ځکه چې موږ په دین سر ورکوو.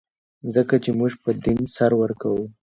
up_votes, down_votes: 2, 1